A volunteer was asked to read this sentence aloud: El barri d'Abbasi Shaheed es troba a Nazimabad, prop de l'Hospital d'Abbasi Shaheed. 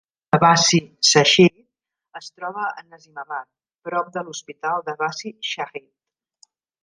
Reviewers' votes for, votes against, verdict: 0, 2, rejected